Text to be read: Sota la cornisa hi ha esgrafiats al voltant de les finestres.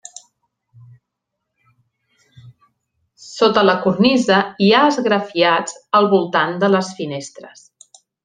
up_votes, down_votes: 1, 2